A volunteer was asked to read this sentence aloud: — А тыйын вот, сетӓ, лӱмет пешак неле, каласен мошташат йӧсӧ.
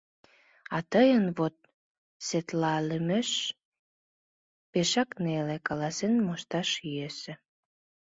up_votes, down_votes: 1, 3